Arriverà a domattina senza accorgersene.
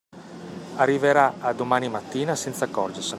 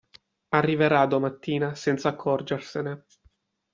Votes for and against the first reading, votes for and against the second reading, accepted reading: 0, 2, 2, 0, second